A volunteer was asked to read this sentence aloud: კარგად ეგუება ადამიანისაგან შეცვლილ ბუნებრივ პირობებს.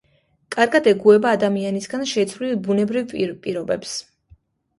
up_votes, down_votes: 2, 0